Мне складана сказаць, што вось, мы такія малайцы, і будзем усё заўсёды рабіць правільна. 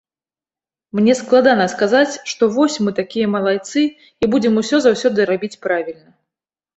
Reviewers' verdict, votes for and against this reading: accepted, 2, 0